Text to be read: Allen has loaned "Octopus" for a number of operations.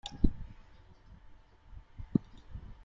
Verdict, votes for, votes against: rejected, 0, 2